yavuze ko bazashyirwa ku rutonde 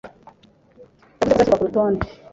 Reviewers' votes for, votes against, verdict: 0, 2, rejected